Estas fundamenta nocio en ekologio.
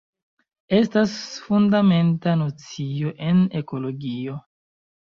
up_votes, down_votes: 0, 2